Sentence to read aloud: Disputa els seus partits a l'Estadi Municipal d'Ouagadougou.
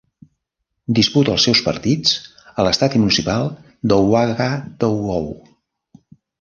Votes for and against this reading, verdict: 0, 2, rejected